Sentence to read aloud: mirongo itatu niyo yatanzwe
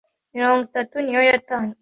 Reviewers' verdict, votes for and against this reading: accepted, 2, 1